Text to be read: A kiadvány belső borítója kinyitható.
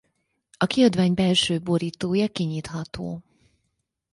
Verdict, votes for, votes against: accepted, 4, 0